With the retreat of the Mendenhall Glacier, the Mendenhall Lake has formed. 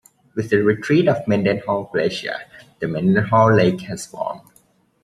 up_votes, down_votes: 0, 2